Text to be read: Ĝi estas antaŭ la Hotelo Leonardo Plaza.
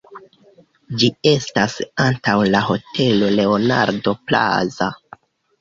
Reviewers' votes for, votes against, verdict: 2, 0, accepted